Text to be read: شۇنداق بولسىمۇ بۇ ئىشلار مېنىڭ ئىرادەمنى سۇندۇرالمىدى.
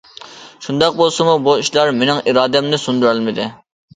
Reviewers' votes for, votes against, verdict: 2, 0, accepted